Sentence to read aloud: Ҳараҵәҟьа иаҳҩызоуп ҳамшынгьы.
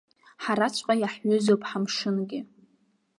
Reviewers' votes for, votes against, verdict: 2, 0, accepted